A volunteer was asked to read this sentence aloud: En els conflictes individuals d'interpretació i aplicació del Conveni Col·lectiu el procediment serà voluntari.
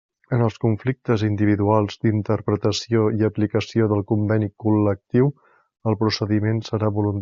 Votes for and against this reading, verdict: 0, 2, rejected